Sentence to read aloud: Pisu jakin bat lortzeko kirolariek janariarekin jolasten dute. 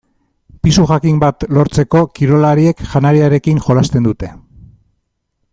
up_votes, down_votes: 2, 0